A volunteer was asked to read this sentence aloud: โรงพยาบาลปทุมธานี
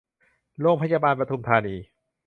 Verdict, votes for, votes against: accepted, 2, 0